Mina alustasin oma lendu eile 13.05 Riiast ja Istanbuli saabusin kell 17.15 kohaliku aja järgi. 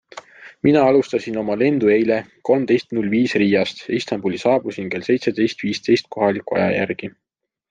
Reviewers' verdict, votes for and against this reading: rejected, 0, 2